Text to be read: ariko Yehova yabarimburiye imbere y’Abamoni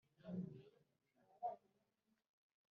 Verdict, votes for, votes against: rejected, 1, 2